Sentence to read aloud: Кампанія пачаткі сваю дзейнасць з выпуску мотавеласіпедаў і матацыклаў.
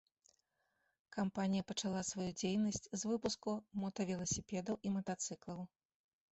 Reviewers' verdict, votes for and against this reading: rejected, 1, 3